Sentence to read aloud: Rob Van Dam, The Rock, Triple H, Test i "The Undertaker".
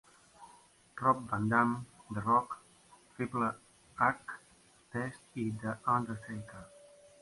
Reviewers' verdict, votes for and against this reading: rejected, 0, 2